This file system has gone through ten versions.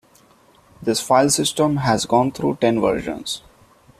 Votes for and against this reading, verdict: 2, 0, accepted